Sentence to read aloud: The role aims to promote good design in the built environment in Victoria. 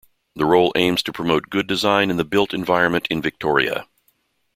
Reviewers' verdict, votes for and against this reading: accepted, 2, 0